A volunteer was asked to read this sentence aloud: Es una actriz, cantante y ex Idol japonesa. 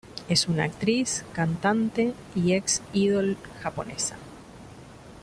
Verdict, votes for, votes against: accepted, 2, 0